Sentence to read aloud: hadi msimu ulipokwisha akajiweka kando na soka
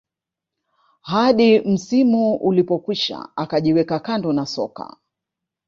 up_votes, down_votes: 2, 0